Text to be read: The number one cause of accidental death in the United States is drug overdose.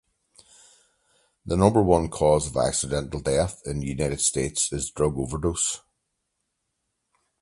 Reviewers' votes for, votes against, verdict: 2, 4, rejected